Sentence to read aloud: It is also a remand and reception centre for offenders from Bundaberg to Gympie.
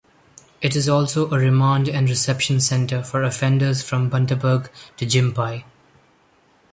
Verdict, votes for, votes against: accepted, 2, 0